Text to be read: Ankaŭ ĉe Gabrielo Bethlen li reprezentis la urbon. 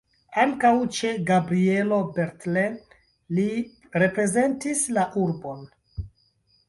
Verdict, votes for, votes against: rejected, 1, 2